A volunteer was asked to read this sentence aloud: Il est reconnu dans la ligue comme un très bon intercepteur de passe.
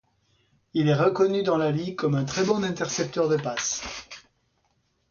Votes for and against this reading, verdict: 2, 0, accepted